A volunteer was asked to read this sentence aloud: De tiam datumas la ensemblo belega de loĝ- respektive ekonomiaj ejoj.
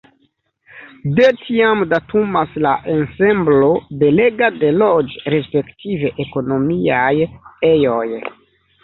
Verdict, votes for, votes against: accepted, 2, 0